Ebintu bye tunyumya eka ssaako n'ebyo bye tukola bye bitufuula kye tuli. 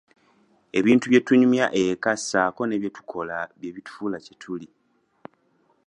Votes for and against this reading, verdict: 1, 2, rejected